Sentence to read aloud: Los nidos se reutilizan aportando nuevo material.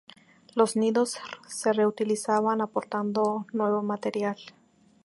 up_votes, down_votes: 0, 2